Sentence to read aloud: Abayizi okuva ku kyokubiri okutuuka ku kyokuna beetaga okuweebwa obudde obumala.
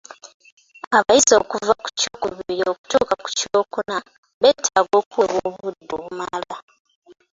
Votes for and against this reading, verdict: 1, 2, rejected